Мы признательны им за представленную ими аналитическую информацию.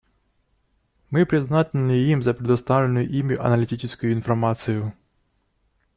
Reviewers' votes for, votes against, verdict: 2, 0, accepted